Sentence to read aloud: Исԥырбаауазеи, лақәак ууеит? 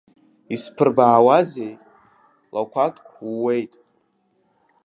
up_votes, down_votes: 0, 2